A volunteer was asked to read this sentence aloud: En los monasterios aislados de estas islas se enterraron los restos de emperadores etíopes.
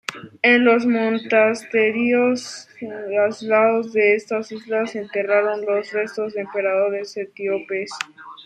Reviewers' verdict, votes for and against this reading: rejected, 0, 2